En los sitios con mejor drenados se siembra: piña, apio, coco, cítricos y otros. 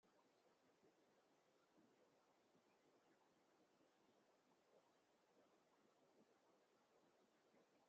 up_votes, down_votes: 0, 2